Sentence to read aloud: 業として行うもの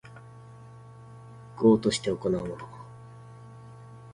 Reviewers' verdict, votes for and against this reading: rejected, 1, 2